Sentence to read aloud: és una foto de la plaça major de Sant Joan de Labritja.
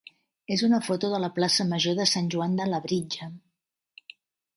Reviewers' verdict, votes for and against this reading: accepted, 3, 1